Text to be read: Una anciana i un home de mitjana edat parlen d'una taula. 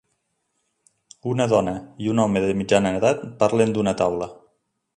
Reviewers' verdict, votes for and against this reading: rejected, 0, 2